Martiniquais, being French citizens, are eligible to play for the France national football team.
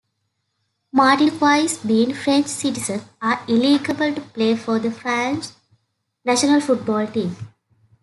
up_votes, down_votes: 1, 2